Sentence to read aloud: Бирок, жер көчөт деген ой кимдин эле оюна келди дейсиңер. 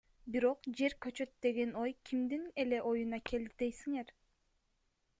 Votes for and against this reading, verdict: 2, 0, accepted